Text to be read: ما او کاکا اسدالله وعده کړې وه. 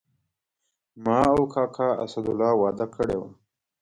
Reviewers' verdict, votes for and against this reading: accepted, 2, 0